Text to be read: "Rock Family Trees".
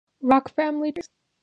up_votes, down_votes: 0, 2